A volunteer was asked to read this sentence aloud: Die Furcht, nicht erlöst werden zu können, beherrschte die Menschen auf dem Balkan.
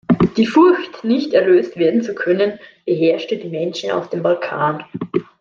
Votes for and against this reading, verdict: 2, 0, accepted